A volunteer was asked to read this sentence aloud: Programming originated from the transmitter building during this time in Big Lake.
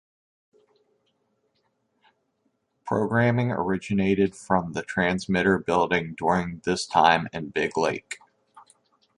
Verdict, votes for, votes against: accepted, 2, 0